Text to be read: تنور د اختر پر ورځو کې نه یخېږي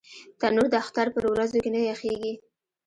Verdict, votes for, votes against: rejected, 0, 2